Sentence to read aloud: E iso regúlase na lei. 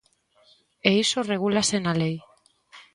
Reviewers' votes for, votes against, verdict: 2, 0, accepted